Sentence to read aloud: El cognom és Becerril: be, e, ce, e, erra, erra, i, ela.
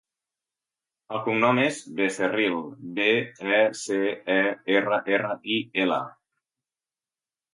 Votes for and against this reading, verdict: 2, 0, accepted